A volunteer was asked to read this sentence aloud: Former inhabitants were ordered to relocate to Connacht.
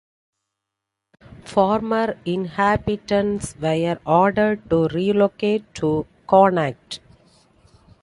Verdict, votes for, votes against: accepted, 2, 0